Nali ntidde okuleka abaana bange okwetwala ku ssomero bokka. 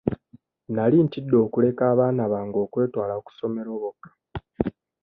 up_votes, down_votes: 0, 2